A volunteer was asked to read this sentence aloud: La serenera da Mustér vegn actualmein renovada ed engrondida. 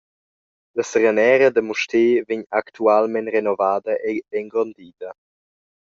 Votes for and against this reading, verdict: 0, 2, rejected